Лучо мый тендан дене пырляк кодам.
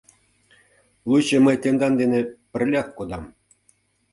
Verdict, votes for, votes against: accepted, 2, 0